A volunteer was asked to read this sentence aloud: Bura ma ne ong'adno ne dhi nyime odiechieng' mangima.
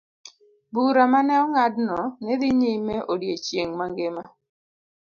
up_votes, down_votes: 2, 0